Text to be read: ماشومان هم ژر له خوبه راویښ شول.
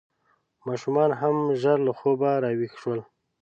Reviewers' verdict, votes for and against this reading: accepted, 2, 0